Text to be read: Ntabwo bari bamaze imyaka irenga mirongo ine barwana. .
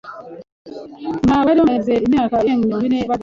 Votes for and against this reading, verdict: 0, 2, rejected